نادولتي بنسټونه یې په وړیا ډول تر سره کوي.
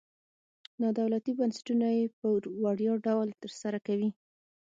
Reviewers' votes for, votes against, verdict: 6, 0, accepted